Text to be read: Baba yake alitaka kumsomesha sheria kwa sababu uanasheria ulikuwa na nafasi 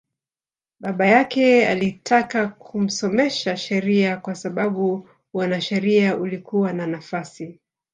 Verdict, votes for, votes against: rejected, 0, 2